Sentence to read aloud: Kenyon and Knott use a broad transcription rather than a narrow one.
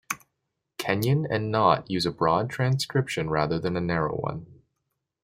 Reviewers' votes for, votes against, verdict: 2, 0, accepted